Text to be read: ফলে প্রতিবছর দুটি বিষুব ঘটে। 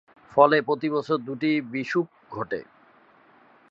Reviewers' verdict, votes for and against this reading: accepted, 2, 0